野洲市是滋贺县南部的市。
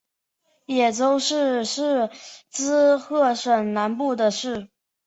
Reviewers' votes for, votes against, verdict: 0, 4, rejected